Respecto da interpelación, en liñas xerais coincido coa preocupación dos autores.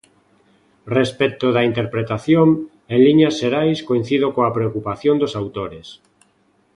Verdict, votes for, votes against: rejected, 0, 2